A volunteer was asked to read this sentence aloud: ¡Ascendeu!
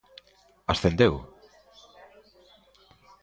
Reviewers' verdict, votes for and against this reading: accepted, 2, 0